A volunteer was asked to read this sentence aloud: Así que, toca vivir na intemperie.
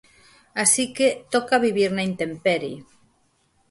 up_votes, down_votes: 4, 0